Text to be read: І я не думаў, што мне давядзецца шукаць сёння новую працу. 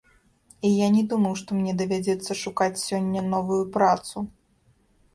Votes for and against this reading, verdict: 2, 0, accepted